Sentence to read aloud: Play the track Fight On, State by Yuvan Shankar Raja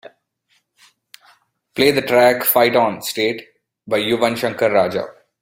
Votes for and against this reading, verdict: 2, 0, accepted